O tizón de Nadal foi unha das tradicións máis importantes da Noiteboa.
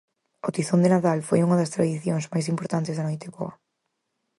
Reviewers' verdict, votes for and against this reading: accepted, 4, 0